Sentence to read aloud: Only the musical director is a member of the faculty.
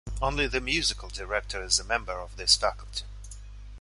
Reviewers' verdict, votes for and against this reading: rejected, 0, 2